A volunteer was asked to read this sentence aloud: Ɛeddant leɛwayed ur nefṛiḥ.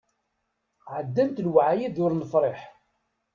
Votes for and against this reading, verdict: 1, 2, rejected